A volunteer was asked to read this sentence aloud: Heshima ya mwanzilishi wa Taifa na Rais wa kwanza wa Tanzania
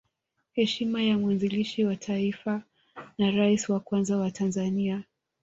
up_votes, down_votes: 0, 2